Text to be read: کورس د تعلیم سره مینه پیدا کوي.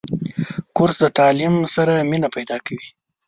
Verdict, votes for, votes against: accepted, 2, 0